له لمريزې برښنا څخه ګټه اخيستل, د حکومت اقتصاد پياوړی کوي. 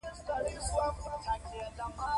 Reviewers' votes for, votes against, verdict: 2, 0, accepted